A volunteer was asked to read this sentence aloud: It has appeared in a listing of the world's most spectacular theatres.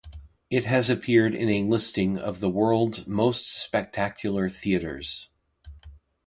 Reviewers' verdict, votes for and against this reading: accepted, 2, 1